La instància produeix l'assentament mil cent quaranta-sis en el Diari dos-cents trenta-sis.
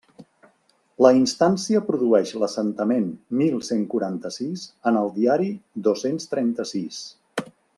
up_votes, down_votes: 3, 0